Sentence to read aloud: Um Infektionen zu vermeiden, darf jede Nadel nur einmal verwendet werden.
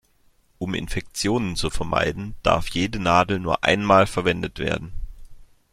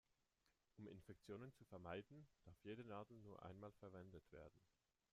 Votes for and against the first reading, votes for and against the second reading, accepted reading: 2, 0, 0, 2, first